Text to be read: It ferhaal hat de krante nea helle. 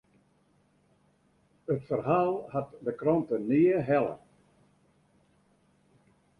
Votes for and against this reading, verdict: 2, 0, accepted